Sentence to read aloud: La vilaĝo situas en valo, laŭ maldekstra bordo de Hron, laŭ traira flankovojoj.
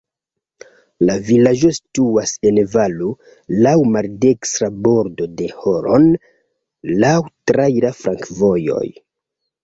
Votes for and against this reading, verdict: 1, 3, rejected